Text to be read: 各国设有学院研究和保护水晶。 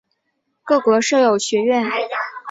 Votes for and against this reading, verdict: 1, 2, rejected